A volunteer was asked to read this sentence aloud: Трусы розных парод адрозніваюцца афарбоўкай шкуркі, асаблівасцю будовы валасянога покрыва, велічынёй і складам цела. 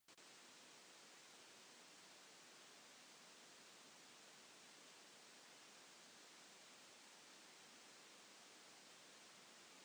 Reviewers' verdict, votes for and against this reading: rejected, 0, 2